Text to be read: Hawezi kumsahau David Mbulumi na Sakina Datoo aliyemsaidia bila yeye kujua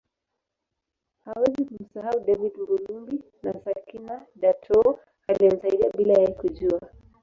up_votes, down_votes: 2, 3